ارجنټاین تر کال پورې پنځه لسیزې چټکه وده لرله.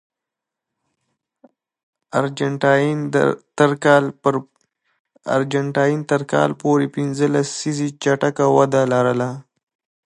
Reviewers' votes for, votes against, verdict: 2, 1, accepted